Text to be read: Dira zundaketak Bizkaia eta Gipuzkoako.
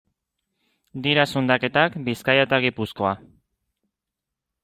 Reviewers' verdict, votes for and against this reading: rejected, 0, 2